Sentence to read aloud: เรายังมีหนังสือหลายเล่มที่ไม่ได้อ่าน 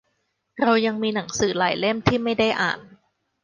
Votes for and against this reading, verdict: 2, 0, accepted